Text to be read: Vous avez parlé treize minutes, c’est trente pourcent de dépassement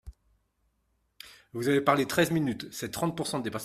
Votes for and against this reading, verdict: 0, 2, rejected